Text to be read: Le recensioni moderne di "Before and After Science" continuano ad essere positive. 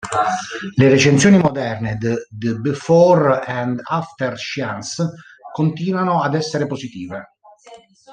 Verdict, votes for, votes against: rejected, 0, 2